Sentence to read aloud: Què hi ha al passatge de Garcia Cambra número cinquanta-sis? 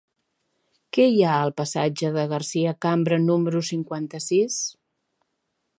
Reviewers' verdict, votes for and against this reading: accepted, 3, 0